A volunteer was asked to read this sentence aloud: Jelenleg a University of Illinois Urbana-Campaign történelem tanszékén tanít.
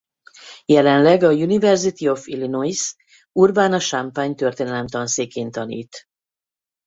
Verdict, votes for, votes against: rejected, 2, 2